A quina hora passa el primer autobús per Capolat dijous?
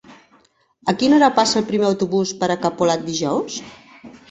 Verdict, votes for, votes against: rejected, 1, 2